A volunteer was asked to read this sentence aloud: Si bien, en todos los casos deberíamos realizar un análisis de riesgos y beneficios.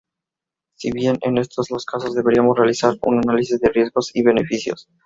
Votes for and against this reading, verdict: 0, 2, rejected